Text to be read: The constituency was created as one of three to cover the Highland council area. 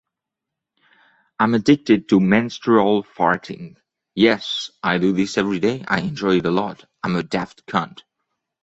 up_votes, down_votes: 1, 2